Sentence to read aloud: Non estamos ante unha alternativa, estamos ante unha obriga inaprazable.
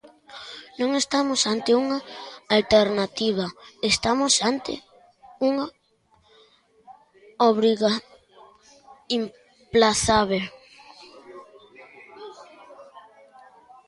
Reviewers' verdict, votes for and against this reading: rejected, 0, 2